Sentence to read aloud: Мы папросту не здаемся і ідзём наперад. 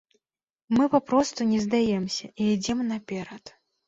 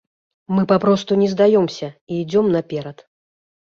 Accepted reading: first